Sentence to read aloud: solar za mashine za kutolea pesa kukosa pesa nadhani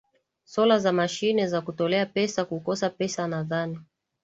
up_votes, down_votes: 2, 0